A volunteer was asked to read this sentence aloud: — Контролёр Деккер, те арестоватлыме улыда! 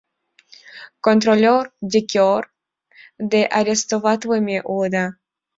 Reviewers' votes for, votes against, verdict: 0, 2, rejected